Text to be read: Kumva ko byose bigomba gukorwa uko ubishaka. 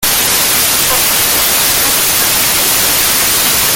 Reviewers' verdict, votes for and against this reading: rejected, 0, 2